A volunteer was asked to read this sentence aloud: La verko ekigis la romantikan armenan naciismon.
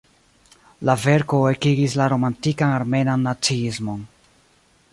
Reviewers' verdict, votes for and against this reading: accepted, 2, 0